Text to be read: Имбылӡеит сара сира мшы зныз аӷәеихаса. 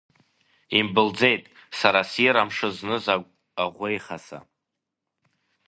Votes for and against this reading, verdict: 1, 2, rejected